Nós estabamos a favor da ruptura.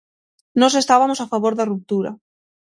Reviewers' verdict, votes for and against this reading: rejected, 3, 6